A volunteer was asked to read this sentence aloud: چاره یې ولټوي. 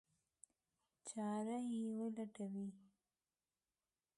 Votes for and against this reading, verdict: 0, 2, rejected